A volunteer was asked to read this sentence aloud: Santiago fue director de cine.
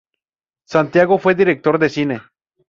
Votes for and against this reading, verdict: 2, 0, accepted